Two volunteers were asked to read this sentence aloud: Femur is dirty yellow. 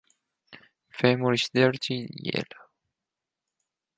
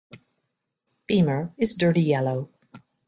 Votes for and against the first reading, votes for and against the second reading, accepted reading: 2, 4, 2, 0, second